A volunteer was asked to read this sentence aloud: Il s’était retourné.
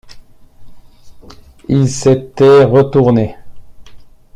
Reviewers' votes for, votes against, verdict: 1, 2, rejected